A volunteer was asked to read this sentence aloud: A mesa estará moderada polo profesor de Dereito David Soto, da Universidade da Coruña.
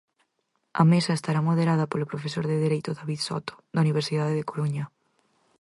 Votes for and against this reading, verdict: 0, 4, rejected